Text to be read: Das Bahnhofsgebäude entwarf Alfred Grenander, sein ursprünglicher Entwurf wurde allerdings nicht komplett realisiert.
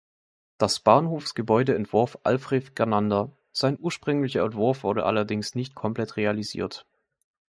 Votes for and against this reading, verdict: 0, 2, rejected